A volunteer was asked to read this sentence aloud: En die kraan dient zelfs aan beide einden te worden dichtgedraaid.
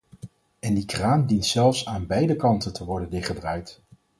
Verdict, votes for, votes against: rejected, 0, 4